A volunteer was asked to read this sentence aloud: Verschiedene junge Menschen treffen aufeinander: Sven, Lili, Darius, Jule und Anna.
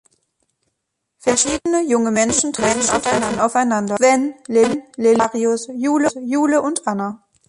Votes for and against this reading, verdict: 0, 2, rejected